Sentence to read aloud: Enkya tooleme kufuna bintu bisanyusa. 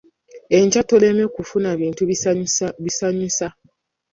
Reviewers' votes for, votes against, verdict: 0, 2, rejected